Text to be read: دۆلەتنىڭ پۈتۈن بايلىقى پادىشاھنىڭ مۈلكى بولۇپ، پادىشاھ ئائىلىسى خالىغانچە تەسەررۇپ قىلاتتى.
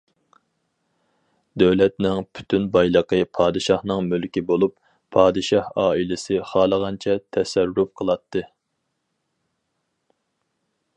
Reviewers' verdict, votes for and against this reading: accepted, 4, 0